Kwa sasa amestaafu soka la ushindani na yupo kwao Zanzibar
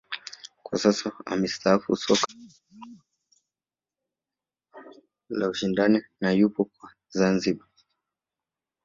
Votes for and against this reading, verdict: 0, 3, rejected